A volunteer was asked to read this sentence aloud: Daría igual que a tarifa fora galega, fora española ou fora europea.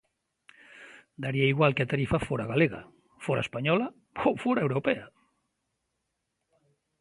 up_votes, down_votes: 2, 0